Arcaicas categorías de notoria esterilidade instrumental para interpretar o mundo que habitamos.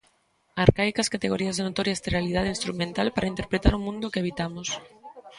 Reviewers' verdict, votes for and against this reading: rejected, 1, 2